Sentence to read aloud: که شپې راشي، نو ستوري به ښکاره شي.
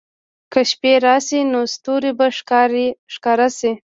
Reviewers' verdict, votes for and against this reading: rejected, 0, 2